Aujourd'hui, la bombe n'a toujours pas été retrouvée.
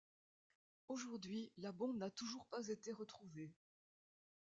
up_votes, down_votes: 2, 0